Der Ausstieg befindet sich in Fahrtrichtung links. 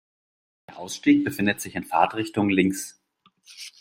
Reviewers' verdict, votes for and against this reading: accepted, 2, 0